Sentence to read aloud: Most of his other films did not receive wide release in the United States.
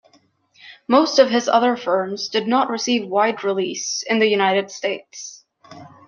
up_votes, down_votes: 1, 2